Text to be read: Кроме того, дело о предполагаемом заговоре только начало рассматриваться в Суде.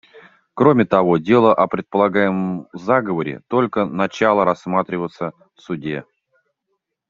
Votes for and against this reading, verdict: 1, 2, rejected